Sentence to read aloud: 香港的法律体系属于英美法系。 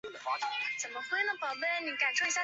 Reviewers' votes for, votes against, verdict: 1, 3, rejected